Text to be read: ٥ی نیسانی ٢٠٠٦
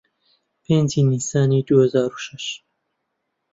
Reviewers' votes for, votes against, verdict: 0, 2, rejected